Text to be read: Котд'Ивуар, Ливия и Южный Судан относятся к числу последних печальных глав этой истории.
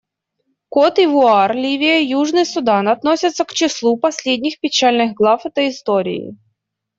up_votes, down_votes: 2, 0